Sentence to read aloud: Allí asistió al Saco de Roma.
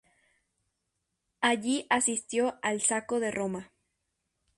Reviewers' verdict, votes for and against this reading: rejected, 2, 2